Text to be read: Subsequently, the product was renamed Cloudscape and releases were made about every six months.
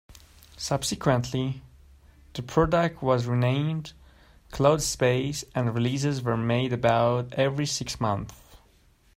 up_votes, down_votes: 0, 2